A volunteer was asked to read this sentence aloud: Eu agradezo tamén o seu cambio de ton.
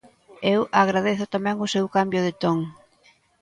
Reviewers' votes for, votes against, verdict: 2, 0, accepted